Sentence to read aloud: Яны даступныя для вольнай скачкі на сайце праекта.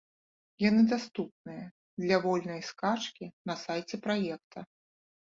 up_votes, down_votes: 2, 0